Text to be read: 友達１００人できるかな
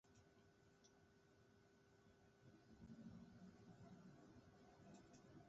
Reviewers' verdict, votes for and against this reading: rejected, 0, 2